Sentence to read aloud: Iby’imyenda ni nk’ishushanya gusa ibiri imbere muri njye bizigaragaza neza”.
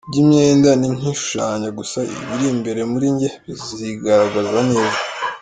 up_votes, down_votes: 4, 2